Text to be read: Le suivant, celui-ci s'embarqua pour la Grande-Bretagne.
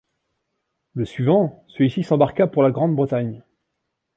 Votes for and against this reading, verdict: 2, 0, accepted